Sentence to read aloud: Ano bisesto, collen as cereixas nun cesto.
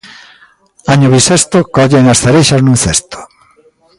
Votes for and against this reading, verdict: 0, 2, rejected